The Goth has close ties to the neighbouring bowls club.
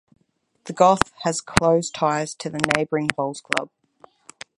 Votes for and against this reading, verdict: 2, 4, rejected